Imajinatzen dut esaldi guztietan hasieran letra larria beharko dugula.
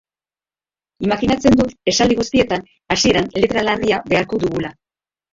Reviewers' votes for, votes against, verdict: 0, 2, rejected